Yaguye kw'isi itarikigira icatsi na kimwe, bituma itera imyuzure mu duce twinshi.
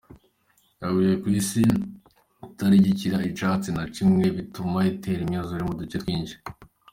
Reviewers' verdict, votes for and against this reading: accepted, 2, 0